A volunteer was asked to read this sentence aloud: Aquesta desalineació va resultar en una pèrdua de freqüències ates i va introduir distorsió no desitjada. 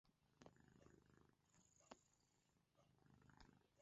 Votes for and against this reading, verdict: 0, 2, rejected